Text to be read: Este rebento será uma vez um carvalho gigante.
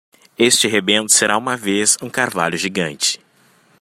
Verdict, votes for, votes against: accepted, 2, 0